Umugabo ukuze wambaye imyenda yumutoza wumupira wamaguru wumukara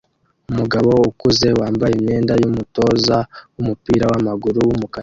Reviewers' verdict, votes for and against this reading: rejected, 1, 2